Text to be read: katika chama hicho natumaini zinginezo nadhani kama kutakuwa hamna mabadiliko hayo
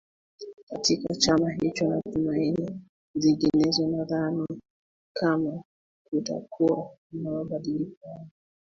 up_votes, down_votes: 1, 2